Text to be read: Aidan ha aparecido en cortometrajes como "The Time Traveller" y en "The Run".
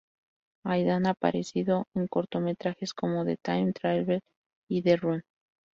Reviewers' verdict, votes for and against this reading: rejected, 0, 2